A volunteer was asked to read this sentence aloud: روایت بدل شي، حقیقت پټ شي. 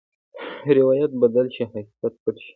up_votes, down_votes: 2, 0